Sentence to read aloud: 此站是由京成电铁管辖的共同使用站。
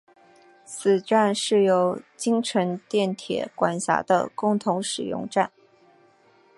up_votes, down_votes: 2, 0